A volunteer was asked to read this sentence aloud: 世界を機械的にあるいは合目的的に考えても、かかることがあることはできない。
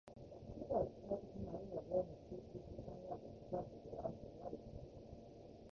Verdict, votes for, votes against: rejected, 1, 2